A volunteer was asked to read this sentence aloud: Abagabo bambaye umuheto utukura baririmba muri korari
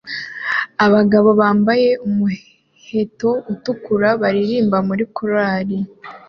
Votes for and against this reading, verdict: 2, 0, accepted